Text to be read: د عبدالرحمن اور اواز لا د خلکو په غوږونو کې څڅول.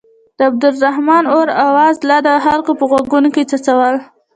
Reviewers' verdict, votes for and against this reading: accepted, 2, 0